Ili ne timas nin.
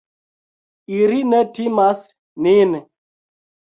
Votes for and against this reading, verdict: 1, 2, rejected